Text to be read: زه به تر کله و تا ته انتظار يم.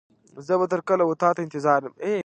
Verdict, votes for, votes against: rejected, 1, 2